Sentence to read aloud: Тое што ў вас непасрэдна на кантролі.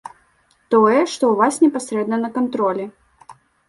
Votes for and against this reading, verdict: 2, 0, accepted